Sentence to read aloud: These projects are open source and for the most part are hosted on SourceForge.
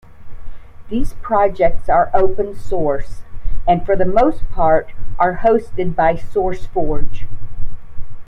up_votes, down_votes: 0, 2